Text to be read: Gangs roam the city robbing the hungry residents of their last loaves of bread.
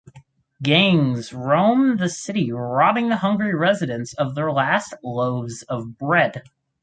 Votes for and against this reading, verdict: 4, 0, accepted